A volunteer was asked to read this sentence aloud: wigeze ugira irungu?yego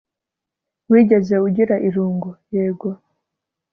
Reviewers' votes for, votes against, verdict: 2, 0, accepted